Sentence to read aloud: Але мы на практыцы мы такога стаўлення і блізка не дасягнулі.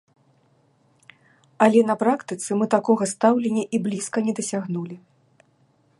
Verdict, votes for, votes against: rejected, 1, 2